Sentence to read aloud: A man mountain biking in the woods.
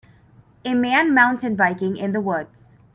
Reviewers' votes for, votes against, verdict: 4, 0, accepted